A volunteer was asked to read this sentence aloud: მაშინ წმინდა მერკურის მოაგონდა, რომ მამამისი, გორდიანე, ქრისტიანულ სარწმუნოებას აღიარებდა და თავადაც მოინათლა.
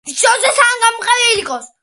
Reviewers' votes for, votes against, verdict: 0, 2, rejected